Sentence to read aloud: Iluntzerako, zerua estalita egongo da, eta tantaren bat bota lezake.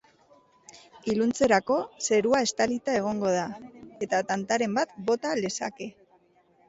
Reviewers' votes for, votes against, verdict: 2, 1, accepted